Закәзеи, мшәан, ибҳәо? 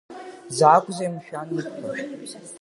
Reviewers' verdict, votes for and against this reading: rejected, 1, 2